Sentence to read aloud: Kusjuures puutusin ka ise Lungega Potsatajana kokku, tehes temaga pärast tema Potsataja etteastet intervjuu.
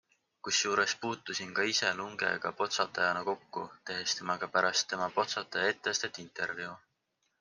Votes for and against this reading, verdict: 3, 0, accepted